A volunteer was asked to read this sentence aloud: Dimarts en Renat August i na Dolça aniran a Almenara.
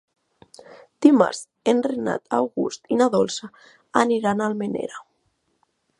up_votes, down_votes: 1, 2